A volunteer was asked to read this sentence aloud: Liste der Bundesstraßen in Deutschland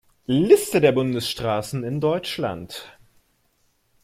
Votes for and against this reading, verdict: 1, 2, rejected